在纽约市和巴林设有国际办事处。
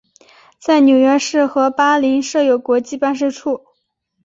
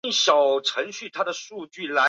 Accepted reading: first